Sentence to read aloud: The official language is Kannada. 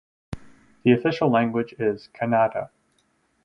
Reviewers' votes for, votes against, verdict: 4, 0, accepted